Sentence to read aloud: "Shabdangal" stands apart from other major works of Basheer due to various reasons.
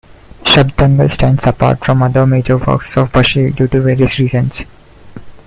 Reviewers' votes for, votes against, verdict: 2, 0, accepted